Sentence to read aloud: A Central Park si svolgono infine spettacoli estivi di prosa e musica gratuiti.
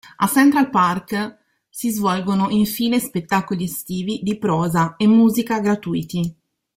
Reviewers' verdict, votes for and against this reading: accepted, 2, 0